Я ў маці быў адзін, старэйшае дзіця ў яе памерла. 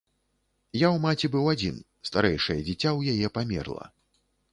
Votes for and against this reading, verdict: 3, 0, accepted